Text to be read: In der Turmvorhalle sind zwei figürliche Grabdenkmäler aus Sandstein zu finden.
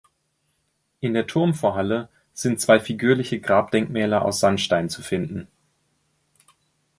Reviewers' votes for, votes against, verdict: 2, 0, accepted